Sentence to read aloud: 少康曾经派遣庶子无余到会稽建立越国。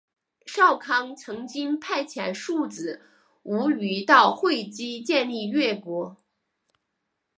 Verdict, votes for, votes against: accepted, 3, 0